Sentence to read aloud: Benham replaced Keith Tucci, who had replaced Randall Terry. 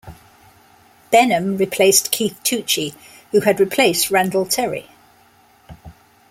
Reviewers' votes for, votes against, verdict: 2, 0, accepted